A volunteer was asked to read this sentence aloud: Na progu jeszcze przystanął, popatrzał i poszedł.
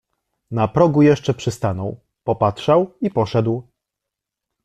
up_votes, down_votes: 2, 0